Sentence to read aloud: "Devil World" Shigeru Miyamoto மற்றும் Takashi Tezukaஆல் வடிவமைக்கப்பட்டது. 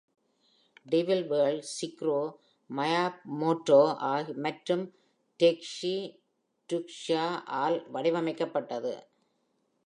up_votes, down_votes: 1, 2